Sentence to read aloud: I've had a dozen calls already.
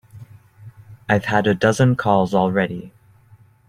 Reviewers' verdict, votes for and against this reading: accepted, 3, 0